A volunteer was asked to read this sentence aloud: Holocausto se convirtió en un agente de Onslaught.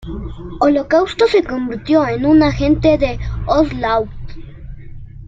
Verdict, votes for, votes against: accepted, 2, 1